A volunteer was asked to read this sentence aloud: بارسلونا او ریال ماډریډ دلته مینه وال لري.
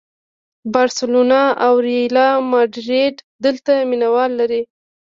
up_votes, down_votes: 2, 1